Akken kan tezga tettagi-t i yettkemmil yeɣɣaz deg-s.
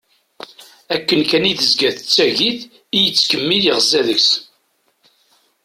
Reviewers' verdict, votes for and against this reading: rejected, 1, 2